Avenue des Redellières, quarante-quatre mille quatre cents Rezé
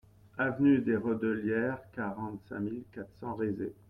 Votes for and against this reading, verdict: 0, 2, rejected